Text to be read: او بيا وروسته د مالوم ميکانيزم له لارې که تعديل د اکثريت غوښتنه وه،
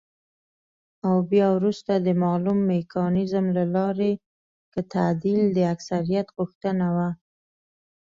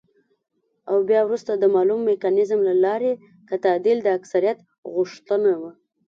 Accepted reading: second